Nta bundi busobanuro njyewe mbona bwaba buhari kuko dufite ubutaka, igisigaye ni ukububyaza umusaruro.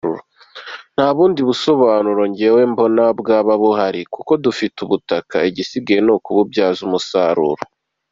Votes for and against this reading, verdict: 2, 0, accepted